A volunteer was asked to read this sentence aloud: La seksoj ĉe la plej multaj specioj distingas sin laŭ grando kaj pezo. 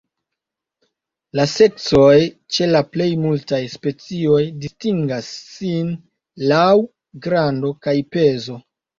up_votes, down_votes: 1, 2